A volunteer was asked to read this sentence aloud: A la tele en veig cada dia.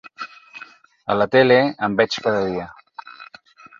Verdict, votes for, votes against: accepted, 4, 0